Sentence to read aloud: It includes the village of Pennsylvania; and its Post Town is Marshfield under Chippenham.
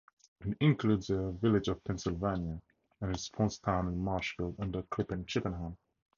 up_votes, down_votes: 2, 4